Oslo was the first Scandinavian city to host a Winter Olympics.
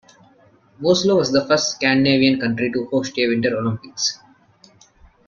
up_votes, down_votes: 0, 2